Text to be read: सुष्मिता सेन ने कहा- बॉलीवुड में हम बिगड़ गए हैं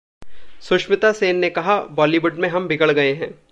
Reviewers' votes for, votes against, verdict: 2, 0, accepted